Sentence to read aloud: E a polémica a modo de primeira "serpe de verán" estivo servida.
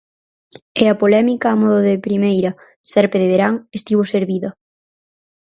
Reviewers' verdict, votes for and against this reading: accepted, 4, 0